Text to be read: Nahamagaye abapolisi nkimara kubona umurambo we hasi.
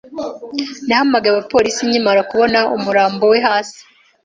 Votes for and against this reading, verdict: 2, 0, accepted